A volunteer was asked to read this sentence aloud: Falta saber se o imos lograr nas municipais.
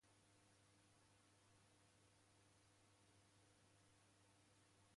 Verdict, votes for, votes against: rejected, 0, 2